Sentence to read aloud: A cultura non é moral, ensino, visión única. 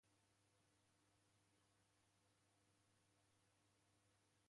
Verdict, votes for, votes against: rejected, 0, 2